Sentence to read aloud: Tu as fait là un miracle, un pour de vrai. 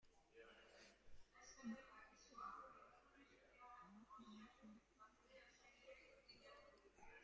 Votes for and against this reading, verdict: 0, 2, rejected